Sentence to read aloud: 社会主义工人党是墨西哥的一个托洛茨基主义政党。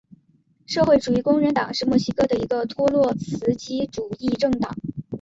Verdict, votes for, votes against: rejected, 2, 3